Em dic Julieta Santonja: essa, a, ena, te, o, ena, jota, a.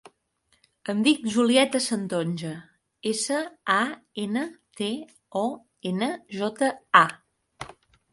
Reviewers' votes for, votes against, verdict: 4, 0, accepted